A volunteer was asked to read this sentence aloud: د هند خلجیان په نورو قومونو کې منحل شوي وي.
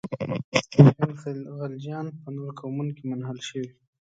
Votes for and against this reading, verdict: 1, 2, rejected